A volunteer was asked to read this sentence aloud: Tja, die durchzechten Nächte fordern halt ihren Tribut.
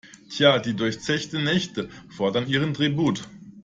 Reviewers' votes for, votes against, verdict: 0, 2, rejected